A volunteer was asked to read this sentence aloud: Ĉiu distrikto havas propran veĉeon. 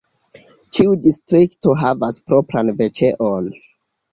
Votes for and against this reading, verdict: 0, 2, rejected